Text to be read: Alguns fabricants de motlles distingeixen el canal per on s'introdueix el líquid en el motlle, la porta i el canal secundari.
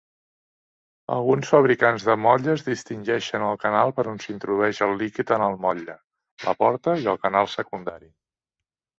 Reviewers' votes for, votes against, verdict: 2, 0, accepted